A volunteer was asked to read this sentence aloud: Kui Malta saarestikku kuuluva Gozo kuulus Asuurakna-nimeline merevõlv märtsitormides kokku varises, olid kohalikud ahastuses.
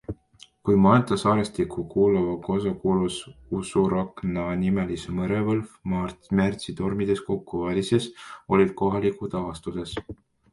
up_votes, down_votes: 1, 2